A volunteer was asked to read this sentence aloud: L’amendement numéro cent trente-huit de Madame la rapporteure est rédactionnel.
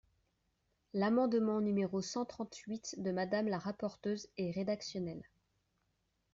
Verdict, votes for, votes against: accepted, 2, 0